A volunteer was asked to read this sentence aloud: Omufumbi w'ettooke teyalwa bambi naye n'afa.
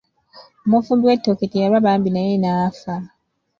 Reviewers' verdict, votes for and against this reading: accepted, 2, 0